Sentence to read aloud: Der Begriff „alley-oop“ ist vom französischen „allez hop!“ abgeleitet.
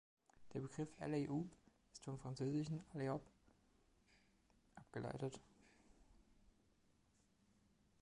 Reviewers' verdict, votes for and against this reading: accepted, 2, 0